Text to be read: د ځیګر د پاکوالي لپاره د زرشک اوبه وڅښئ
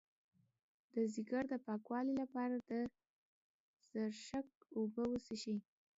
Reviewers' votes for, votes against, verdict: 2, 0, accepted